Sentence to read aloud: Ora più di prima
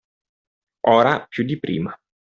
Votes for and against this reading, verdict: 2, 0, accepted